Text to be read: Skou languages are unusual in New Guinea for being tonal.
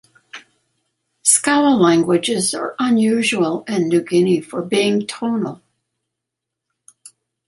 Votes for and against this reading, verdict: 2, 0, accepted